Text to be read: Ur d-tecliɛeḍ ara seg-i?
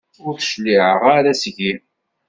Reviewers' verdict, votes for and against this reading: rejected, 1, 2